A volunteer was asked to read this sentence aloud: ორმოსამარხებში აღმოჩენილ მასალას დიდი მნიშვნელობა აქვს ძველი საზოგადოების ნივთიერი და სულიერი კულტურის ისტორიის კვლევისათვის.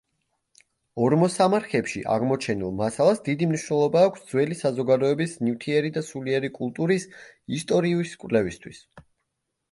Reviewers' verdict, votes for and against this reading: rejected, 0, 2